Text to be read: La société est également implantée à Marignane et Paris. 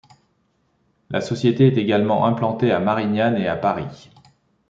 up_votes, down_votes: 1, 2